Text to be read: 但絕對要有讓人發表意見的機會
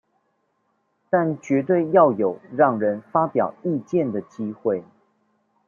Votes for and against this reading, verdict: 2, 0, accepted